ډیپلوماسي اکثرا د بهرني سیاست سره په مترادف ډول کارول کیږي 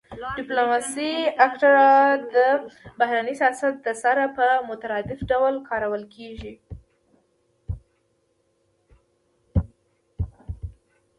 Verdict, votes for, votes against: rejected, 1, 2